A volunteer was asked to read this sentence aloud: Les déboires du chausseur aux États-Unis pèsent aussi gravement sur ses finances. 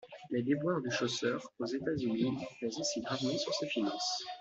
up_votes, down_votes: 2, 1